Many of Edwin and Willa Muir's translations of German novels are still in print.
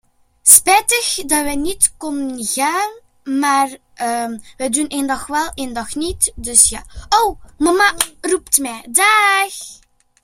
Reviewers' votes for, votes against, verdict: 0, 2, rejected